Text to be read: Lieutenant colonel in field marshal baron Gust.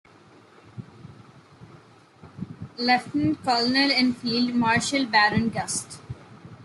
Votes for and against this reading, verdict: 0, 2, rejected